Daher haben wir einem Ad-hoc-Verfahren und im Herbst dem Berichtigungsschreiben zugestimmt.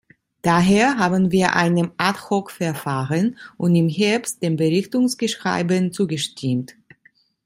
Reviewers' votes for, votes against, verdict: 0, 2, rejected